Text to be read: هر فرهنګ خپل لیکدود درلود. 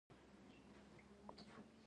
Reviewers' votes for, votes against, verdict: 0, 2, rejected